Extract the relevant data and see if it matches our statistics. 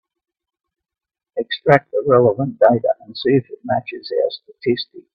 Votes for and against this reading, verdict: 0, 2, rejected